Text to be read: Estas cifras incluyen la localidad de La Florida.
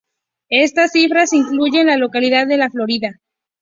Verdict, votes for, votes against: accepted, 2, 0